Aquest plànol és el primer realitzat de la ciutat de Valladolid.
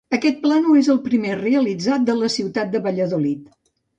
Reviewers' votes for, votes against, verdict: 1, 2, rejected